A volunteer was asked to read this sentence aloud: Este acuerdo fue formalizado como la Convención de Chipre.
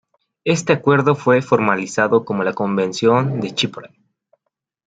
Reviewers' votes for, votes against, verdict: 1, 2, rejected